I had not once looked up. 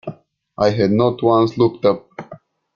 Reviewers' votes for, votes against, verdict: 2, 0, accepted